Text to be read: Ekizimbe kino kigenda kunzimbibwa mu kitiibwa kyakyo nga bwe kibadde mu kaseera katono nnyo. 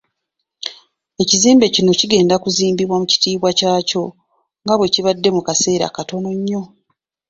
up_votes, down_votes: 2, 0